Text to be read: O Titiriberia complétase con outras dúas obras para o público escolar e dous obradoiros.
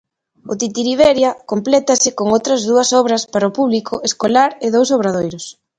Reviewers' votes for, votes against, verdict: 2, 0, accepted